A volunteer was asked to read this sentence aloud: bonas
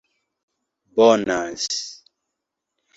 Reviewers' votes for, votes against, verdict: 2, 0, accepted